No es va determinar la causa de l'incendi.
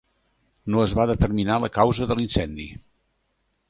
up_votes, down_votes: 2, 0